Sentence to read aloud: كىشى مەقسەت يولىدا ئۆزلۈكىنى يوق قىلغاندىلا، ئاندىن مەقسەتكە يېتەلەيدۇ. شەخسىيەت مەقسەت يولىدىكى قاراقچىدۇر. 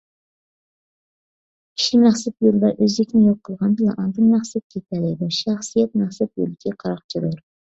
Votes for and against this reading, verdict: 0, 2, rejected